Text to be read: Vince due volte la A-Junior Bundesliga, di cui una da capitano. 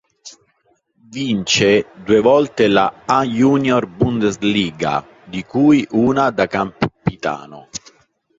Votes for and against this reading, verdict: 1, 2, rejected